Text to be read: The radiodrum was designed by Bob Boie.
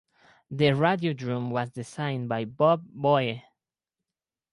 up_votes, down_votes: 4, 0